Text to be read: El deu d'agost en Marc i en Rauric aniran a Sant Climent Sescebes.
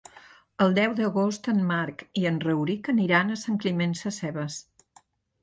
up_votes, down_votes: 3, 0